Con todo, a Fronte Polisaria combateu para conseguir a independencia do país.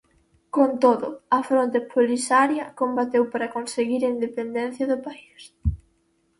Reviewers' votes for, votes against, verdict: 0, 2, rejected